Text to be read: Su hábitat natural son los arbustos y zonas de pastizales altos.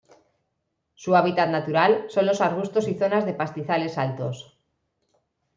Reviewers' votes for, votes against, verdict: 2, 0, accepted